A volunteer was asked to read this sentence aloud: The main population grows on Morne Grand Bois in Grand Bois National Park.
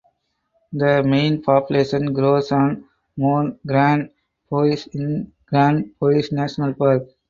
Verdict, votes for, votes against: accepted, 2, 0